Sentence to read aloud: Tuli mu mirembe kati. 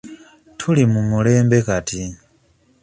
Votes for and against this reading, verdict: 1, 2, rejected